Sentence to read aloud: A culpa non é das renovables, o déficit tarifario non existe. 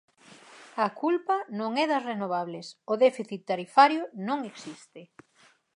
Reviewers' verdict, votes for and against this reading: accepted, 4, 0